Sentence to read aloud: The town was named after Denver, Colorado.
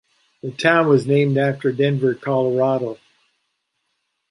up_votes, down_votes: 3, 0